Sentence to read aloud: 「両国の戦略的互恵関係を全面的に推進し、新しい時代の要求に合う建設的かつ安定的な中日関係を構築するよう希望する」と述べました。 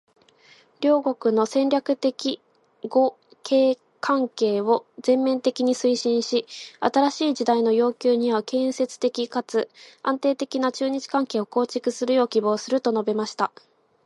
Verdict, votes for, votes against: accepted, 2, 0